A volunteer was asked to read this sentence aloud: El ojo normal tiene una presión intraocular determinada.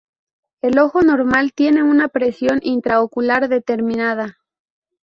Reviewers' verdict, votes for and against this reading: accepted, 2, 0